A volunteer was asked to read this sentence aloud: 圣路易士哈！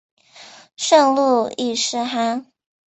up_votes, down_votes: 4, 0